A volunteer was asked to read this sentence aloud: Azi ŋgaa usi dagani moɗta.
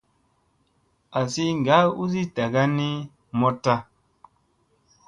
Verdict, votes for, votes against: accepted, 2, 0